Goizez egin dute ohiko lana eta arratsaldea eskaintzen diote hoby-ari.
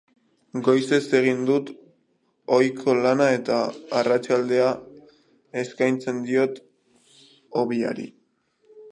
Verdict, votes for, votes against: rejected, 1, 3